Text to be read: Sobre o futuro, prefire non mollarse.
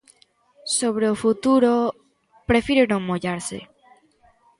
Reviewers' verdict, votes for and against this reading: accepted, 2, 0